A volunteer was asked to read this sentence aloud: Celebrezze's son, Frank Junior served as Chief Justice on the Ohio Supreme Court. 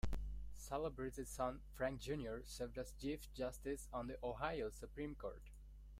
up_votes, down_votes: 2, 1